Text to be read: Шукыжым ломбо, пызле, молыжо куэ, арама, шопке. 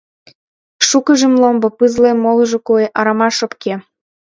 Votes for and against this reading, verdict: 2, 0, accepted